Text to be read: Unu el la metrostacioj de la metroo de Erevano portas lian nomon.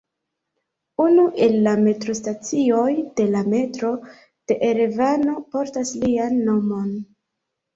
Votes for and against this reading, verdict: 1, 2, rejected